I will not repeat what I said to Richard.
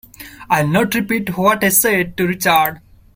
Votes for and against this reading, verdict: 0, 2, rejected